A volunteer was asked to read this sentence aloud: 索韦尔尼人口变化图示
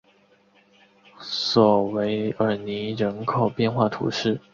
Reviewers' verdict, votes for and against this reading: accepted, 7, 0